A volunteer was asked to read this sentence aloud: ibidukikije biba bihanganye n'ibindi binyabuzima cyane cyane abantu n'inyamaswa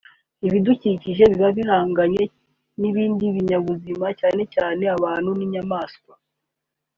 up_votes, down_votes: 3, 0